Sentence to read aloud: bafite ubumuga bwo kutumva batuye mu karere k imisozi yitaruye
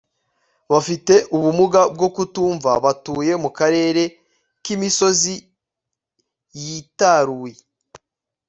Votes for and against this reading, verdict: 2, 0, accepted